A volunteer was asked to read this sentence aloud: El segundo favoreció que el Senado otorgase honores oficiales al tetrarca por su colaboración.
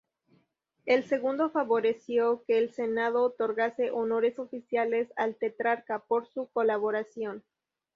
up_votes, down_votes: 2, 0